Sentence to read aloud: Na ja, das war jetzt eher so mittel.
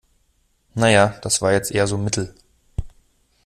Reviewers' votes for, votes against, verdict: 2, 0, accepted